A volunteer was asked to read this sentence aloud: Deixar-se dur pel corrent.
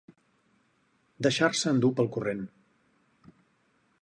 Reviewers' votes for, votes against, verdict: 2, 2, rejected